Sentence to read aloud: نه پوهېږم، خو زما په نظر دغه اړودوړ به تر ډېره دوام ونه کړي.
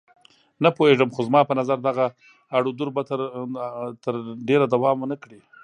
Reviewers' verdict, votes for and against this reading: rejected, 1, 2